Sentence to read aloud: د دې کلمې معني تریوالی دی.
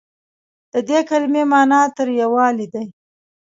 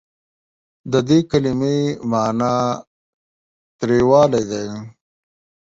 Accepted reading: first